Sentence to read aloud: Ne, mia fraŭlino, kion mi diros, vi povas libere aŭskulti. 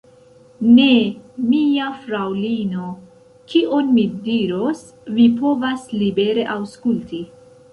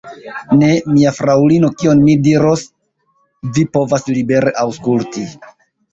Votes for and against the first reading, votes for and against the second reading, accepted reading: 1, 2, 2, 0, second